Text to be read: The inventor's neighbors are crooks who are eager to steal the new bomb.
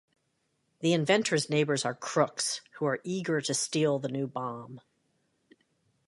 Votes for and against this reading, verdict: 3, 0, accepted